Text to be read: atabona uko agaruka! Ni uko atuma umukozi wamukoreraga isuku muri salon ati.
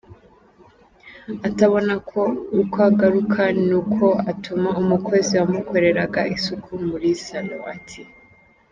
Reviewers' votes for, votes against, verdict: 1, 2, rejected